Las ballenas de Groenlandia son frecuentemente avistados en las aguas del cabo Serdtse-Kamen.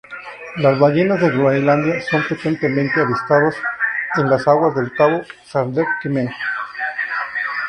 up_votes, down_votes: 0, 2